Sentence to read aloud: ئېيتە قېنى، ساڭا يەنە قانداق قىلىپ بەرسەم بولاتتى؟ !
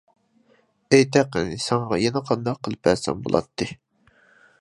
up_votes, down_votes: 2, 1